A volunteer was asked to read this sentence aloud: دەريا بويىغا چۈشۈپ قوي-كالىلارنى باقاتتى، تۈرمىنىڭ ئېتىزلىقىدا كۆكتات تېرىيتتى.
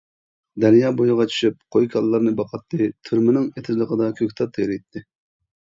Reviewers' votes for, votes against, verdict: 2, 0, accepted